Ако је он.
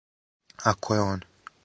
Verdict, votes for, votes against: accepted, 4, 0